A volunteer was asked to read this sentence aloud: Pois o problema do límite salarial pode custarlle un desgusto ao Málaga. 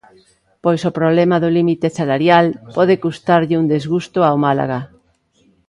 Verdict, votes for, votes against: rejected, 1, 2